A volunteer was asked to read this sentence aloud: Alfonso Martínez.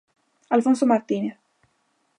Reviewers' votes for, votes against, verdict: 2, 0, accepted